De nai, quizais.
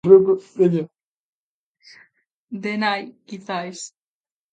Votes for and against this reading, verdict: 0, 2, rejected